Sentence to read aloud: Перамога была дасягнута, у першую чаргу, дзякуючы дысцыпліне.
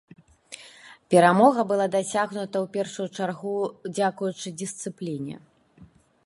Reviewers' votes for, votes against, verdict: 0, 2, rejected